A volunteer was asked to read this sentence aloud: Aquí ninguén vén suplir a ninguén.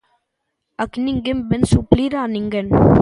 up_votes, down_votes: 2, 0